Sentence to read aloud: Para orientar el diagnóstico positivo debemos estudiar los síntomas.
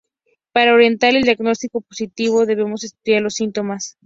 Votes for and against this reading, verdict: 2, 0, accepted